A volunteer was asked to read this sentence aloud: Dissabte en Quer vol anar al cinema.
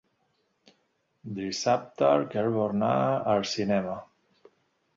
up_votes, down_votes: 1, 2